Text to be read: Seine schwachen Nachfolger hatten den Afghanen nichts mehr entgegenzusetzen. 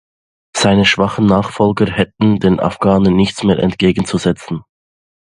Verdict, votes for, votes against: rejected, 0, 2